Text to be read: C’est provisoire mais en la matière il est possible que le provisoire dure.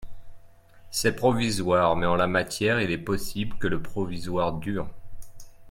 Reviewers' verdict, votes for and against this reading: accepted, 2, 0